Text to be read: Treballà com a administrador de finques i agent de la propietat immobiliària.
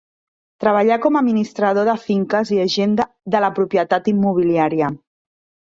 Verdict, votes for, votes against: rejected, 2, 3